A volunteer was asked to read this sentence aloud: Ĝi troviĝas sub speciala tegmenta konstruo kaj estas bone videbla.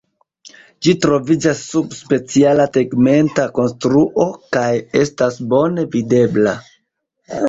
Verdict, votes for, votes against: accepted, 2, 1